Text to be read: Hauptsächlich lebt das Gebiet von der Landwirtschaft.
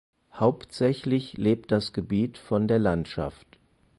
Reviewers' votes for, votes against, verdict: 0, 4, rejected